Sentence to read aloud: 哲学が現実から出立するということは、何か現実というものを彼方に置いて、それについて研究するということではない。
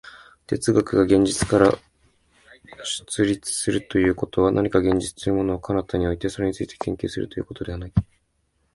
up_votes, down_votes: 2, 1